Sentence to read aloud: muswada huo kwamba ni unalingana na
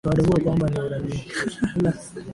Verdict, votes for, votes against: rejected, 0, 3